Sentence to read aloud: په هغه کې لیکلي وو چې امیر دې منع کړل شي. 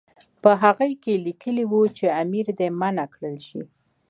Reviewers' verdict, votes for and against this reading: rejected, 1, 2